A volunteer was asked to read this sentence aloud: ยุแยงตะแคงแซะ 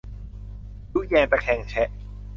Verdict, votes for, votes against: rejected, 0, 2